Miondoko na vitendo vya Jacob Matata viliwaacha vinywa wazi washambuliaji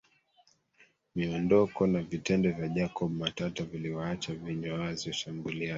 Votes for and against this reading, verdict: 1, 2, rejected